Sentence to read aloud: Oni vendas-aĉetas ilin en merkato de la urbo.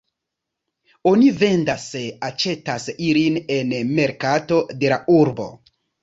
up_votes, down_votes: 2, 0